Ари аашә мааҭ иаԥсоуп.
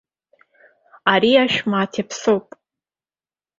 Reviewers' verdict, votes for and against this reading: accepted, 2, 0